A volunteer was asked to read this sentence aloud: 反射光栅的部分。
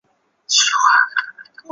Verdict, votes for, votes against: accepted, 2, 0